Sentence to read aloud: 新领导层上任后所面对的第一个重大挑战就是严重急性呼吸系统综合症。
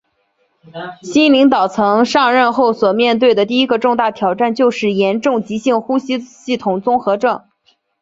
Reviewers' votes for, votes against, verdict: 2, 0, accepted